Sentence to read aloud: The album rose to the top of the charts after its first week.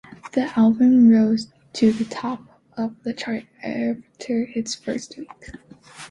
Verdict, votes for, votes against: accepted, 2, 1